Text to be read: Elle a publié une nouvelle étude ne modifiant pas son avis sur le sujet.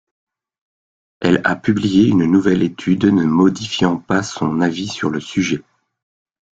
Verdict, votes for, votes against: accepted, 2, 0